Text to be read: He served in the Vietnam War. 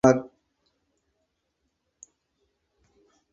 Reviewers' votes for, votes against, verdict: 0, 4, rejected